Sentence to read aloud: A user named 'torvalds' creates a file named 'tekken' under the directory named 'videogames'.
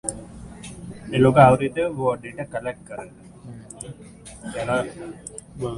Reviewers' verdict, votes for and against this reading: rejected, 0, 2